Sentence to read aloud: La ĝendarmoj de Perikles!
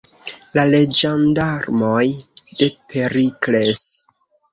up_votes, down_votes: 0, 2